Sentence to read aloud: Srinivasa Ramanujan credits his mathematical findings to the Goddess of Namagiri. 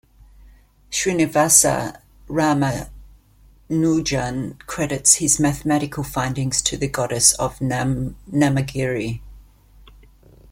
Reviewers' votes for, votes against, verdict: 1, 2, rejected